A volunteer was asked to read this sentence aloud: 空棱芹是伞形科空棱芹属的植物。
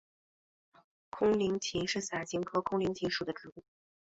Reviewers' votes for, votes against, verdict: 2, 1, accepted